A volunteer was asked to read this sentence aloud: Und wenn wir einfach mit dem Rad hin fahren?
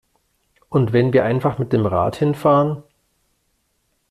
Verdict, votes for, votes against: accepted, 2, 0